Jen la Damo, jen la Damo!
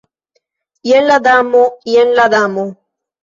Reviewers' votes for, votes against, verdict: 1, 2, rejected